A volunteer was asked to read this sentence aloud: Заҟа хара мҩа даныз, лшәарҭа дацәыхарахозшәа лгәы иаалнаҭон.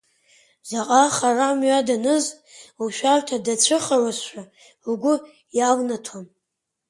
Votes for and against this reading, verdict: 1, 4, rejected